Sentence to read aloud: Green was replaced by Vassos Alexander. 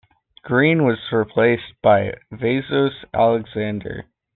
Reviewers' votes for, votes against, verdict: 2, 0, accepted